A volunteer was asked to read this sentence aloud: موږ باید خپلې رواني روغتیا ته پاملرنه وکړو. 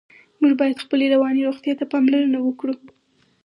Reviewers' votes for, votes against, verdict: 4, 0, accepted